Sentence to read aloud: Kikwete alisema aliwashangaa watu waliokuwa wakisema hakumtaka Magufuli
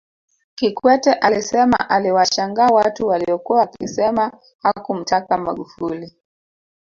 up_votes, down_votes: 1, 2